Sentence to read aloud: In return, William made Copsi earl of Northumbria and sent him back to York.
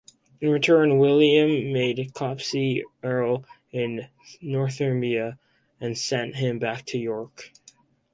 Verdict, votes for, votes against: rejected, 0, 2